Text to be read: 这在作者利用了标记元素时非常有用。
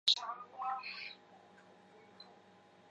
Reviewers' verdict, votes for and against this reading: rejected, 0, 2